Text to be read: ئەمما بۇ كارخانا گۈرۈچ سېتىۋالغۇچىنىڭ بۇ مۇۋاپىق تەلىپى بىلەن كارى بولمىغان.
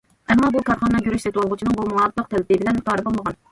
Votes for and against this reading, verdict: 1, 2, rejected